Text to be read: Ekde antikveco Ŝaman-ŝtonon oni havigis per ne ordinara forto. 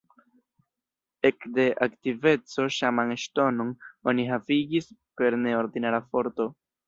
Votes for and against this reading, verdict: 1, 2, rejected